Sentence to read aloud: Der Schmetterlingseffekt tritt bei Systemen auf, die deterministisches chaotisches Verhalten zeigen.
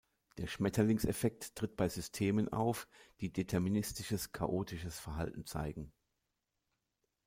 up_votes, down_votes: 0, 2